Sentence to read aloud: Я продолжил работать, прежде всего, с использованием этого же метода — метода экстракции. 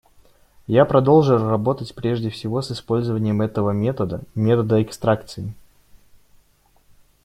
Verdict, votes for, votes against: rejected, 1, 2